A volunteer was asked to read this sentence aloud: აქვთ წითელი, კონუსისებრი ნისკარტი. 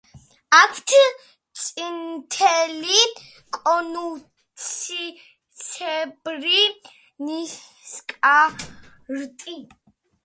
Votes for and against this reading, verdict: 1, 2, rejected